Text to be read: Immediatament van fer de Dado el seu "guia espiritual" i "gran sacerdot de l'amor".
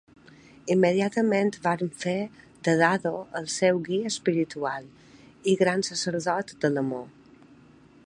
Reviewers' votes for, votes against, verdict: 2, 0, accepted